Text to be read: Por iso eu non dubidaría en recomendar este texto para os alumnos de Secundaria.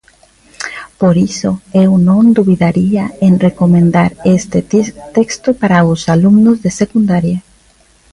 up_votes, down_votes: 0, 2